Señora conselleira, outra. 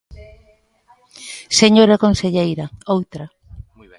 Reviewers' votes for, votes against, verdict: 1, 2, rejected